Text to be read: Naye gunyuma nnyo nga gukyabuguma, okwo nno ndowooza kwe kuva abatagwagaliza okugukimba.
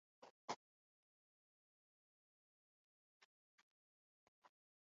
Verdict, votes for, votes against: rejected, 0, 2